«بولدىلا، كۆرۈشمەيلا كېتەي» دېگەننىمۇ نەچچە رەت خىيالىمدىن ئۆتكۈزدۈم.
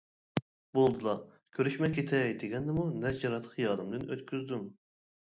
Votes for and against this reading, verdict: 1, 2, rejected